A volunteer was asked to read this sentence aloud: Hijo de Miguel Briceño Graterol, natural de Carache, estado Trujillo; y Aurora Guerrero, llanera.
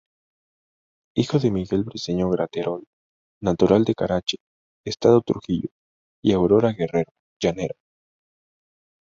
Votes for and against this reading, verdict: 2, 0, accepted